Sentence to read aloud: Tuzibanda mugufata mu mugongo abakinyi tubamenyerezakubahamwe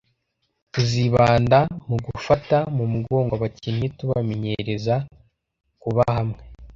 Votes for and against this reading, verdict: 2, 0, accepted